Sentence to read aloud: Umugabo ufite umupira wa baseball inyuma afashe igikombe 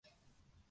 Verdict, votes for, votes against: rejected, 0, 2